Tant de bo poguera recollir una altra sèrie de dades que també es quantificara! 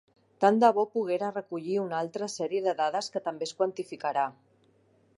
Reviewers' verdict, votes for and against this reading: rejected, 1, 2